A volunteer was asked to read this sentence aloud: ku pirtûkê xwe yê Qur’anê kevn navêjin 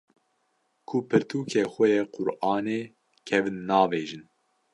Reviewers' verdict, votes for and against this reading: accepted, 2, 0